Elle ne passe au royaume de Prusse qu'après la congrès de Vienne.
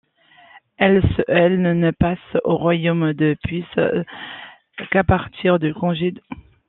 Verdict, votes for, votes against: rejected, 0, 2